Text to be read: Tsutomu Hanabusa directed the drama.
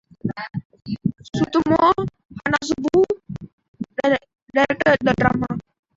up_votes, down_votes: 1, 2